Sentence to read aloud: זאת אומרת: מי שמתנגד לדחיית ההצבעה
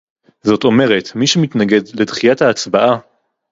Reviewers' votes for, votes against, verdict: 2, 0, accepted